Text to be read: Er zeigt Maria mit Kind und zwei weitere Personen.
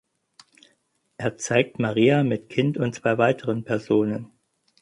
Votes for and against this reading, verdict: 2, 4, rejected